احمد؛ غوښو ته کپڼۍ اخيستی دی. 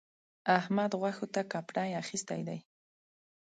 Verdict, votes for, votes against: accepted, 3, 0